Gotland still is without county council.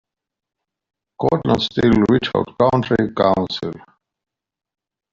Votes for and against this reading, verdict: 0, 2, rejected